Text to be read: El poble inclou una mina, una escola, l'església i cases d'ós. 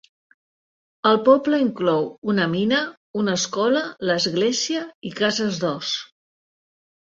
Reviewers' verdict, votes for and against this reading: accepted, 2, 0